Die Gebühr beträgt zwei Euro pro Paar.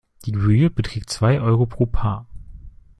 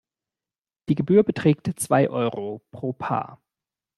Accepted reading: second